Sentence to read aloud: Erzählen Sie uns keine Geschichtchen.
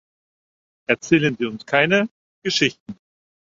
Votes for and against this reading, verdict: 0, 4, rejected